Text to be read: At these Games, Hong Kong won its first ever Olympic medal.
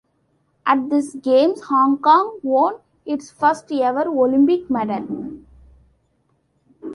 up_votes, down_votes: 2, 0